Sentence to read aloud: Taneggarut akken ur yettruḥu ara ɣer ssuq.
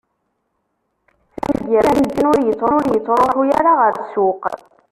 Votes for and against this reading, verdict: 0, 2, rejected